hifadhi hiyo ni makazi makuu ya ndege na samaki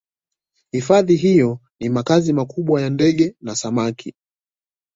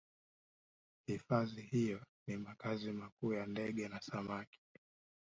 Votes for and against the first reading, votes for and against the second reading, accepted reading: 2, 1, 0, 2, first